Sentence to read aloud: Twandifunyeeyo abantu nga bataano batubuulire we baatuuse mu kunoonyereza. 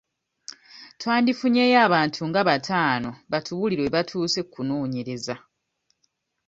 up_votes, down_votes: 0, 2